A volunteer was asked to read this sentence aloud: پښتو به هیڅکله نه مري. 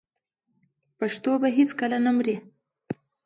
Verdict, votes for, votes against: accepted, 2, 0